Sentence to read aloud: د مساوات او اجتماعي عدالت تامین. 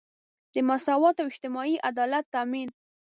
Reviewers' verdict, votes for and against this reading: accepted, 2, 0